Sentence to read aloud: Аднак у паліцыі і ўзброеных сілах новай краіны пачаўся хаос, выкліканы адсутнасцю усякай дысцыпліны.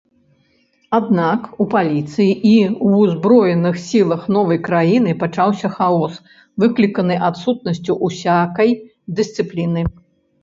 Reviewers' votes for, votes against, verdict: 2, 0, accepted